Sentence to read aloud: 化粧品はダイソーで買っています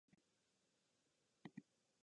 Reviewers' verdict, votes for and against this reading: rejected, 0, 2